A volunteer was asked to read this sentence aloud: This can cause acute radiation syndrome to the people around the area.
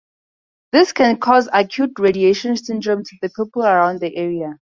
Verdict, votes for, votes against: rejected, 2, 2